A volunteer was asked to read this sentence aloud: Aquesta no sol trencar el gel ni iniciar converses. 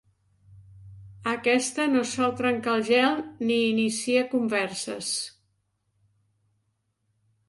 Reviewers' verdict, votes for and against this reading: rejected, 1, 2